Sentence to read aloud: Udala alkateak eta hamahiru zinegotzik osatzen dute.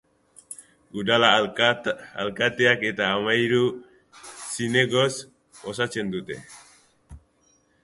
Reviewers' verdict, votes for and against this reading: rejected, 1, 2